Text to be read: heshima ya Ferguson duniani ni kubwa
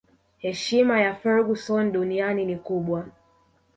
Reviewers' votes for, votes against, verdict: 2, 1, accepted